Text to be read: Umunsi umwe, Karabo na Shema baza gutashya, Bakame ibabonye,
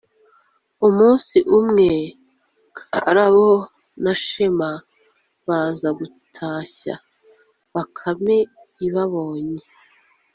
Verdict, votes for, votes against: accepted, 2, 0